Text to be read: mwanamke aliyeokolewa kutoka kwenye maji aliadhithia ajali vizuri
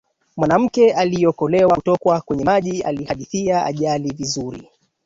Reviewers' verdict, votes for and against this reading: rejected, 0, 2